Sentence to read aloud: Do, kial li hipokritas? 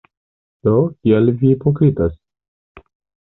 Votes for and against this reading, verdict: 1, 2, rejected